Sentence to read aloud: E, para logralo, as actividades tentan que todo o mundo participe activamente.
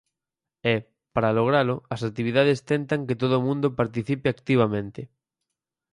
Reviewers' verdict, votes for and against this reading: accepted, 4, 0